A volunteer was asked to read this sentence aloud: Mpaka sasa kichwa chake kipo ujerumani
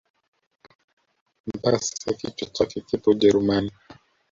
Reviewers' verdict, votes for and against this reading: rejected, 1, 2